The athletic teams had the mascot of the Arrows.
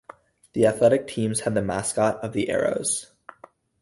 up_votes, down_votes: 2, 0